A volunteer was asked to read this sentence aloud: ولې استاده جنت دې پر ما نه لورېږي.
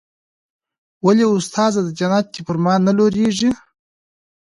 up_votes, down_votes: 0, 2